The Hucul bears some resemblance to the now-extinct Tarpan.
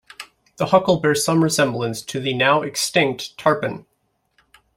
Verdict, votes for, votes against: accepted, 2, 0